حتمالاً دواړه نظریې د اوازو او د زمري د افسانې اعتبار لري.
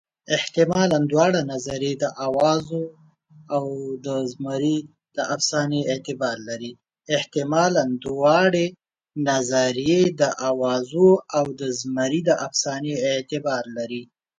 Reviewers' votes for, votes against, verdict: 1, 2, rejected